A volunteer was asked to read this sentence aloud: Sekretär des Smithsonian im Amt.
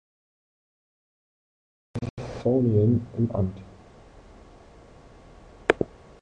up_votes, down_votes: 0, 2